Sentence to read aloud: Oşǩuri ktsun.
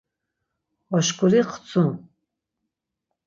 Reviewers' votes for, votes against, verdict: 0, 6, rejected